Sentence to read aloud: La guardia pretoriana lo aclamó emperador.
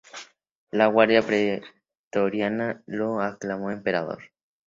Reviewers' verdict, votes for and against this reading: accepted, 2, 0